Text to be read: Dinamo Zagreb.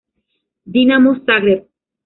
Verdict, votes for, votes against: accepted, 2, 0